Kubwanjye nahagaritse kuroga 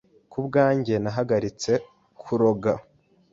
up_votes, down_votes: 2, 0